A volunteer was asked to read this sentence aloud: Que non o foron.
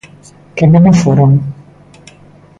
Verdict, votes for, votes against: accepted, 2, 0